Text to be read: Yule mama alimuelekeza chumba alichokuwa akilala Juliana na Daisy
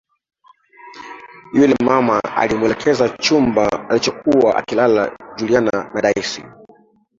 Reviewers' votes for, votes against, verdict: 1, 2, rejected